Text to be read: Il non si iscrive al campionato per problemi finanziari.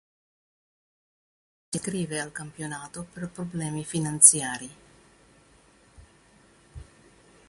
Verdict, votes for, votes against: rejected, 1, 2